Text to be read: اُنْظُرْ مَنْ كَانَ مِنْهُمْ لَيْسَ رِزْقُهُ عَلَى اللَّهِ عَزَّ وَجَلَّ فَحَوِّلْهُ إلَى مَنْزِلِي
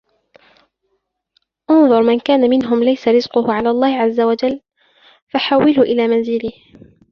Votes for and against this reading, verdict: 2, 0, accepted